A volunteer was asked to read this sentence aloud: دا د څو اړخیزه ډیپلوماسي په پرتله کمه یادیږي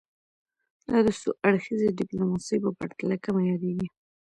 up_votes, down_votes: 0, 2